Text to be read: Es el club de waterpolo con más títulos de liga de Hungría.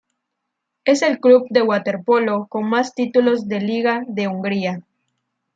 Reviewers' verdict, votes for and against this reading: accepted, 2, 0